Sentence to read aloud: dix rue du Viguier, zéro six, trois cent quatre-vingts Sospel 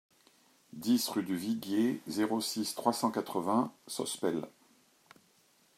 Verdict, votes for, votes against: accepted, 2, 0